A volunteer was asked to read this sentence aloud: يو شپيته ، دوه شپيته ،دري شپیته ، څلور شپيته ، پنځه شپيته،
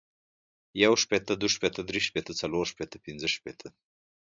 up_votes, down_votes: 2, 0